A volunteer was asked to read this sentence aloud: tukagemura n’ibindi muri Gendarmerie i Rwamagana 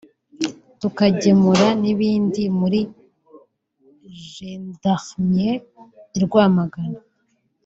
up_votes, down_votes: 1, 2